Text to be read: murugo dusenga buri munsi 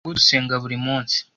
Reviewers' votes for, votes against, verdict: 1, 2, rejected